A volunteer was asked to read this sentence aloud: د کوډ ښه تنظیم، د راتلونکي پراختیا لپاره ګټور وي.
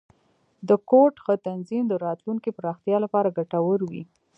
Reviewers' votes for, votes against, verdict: 2, 1, accepted